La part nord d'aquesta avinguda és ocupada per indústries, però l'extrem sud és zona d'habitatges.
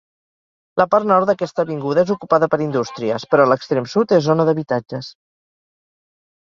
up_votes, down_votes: 4, 0